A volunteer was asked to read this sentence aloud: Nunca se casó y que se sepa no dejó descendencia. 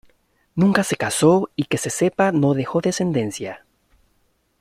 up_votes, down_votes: 2, 0